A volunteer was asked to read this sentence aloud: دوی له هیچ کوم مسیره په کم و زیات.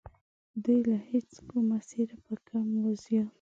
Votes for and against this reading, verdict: 1, 2, rejected